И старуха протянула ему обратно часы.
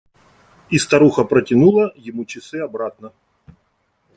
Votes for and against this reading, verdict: 1, 2, rejected